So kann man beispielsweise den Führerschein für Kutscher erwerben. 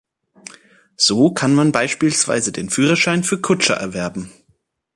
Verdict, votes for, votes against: accepted, 2, 0